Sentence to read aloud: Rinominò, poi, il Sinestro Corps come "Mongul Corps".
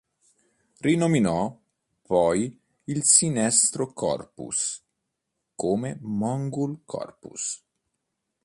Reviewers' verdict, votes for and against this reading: rejected, 1, 2